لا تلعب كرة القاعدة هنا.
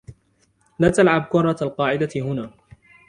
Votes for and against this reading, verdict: 1, 2, rejected